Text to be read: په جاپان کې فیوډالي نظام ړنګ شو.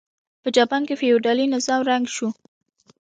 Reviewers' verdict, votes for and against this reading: accepted, 2, 0